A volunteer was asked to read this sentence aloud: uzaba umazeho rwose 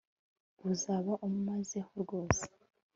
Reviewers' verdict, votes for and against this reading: accepted, 3, 0